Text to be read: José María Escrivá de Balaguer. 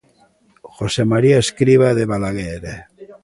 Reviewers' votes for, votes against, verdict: 2, 1, accepted